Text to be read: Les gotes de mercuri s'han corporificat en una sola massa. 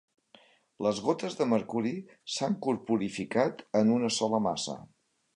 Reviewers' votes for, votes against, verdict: 3, 0, accepted